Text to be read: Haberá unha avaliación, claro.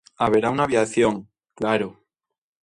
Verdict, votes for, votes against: rejected, 1, 2